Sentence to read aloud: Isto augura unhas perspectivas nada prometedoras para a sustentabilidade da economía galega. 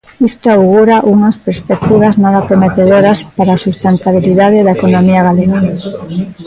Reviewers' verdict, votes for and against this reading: rejected, 0, 2